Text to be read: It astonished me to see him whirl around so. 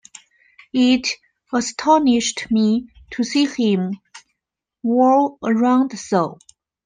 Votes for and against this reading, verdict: 2, 0, accepted